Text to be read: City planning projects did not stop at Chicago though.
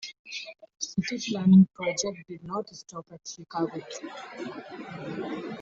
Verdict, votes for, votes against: rejected, 0, 2